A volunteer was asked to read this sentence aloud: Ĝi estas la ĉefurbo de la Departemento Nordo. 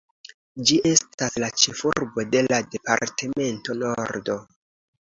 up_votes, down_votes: 2, 0